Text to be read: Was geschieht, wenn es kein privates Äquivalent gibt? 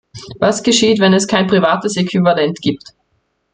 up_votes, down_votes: 2, 0